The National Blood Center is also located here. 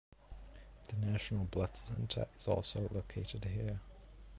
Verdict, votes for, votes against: rejected, 0, 2